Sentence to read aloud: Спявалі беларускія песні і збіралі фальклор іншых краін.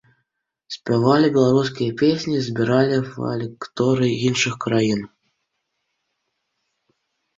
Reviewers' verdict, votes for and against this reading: rejected, 1, 2